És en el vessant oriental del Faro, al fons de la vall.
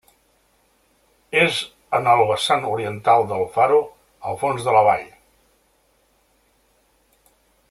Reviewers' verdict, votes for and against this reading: accepted, 3, 0